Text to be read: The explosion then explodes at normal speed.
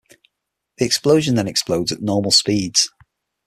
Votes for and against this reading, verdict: 6, 0, accepted